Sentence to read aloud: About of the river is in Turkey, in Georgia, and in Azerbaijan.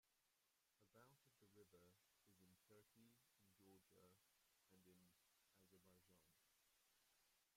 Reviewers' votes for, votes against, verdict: 0, 2, rejected